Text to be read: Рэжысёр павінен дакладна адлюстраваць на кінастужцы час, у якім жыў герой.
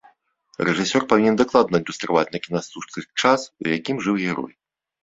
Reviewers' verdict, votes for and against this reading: accepted, 2, 0